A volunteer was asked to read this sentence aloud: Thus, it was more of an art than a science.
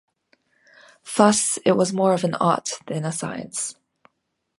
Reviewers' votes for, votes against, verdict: 2, 0, accepted